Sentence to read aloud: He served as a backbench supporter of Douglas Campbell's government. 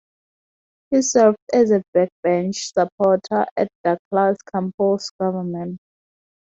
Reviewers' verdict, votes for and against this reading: rejected, 0, 2